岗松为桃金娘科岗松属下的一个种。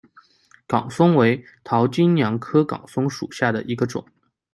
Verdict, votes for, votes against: accepted, 2, 0